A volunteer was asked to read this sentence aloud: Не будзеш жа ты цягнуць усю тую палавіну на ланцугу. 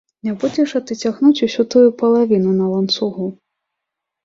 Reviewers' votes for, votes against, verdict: 3, 0, accepted